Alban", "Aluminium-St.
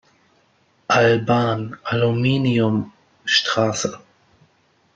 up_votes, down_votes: 1, 2